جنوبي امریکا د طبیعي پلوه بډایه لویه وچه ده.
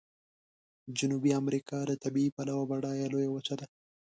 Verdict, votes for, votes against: rejected, 1, 2